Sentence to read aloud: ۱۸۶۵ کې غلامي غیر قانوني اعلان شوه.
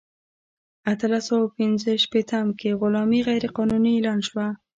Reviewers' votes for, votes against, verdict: 0, 2, rejected